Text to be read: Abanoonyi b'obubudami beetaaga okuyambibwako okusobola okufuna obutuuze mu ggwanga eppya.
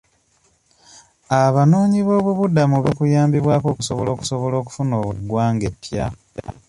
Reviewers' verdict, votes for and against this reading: rejected, 1, 2